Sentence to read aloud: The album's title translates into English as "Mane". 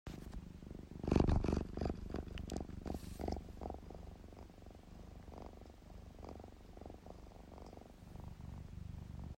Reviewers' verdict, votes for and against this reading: rejected, 0, 3